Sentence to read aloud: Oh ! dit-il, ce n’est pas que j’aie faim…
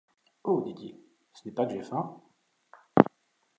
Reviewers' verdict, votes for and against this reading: accepted, 3, 1